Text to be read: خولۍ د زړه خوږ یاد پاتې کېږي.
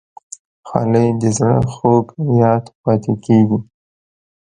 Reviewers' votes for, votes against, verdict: 2, 0, accepted